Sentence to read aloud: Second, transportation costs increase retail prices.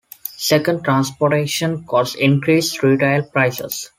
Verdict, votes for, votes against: accepted, 2, 0